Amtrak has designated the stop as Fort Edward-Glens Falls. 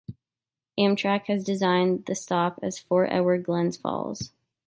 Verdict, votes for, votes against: accepted, 2, 0